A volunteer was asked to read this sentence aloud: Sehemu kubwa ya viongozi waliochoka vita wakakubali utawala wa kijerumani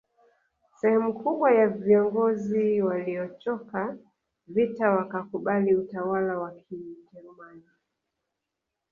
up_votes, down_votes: 1, 2